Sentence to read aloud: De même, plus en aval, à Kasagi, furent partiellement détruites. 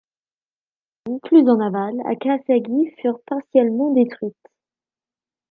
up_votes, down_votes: 1, 2